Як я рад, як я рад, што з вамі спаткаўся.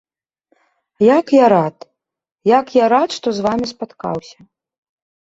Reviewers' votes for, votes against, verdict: 2, 0, accepted